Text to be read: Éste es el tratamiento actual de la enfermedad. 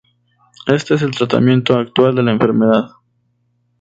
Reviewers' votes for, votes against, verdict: 2, 0, accepted